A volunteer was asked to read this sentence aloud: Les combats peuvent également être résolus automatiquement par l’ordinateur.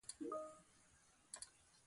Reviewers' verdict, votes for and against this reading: rejected, 0, 2